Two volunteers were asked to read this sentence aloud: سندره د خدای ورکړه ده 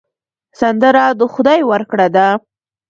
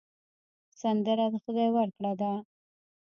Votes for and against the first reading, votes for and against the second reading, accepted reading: 2, 1, 1, 2, first